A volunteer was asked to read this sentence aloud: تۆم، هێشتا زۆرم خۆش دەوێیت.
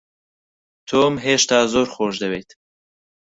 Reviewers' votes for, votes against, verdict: 0, 4, rejected